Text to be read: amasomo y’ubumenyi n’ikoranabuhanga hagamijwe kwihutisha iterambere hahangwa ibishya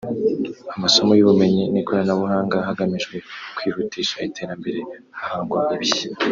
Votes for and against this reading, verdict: 1, 2, rejected